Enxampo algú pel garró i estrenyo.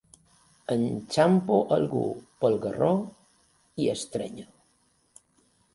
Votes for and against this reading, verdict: 2, 0, accepted